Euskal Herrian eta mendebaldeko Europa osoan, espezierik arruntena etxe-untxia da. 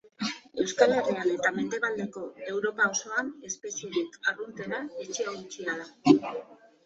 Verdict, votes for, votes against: rejected, 1, 2